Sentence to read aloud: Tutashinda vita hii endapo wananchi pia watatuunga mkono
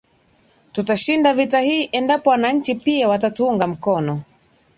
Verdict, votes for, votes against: accepted, 2, 0